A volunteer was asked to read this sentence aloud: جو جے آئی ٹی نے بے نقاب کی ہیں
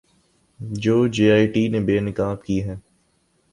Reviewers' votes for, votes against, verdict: 3, 0, accepted